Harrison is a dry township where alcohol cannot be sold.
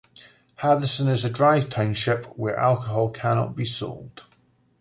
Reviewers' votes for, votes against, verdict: 2, 0, accepted